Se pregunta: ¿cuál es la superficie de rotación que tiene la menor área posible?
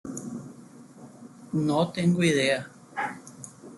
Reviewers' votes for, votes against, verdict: 0, 2, rejected